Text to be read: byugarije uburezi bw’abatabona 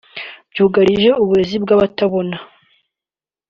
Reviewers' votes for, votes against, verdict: 2, 0, accepted